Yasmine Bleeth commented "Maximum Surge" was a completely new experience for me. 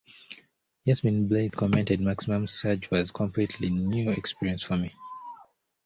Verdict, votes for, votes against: accepted, 2, 1